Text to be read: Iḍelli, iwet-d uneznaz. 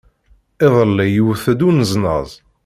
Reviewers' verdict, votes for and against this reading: rejected, 1, 2